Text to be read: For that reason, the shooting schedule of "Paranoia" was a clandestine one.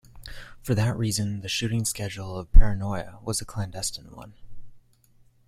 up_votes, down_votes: 2, 0